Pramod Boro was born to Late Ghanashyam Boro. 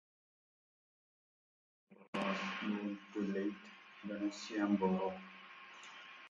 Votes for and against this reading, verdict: 0, 4, rejected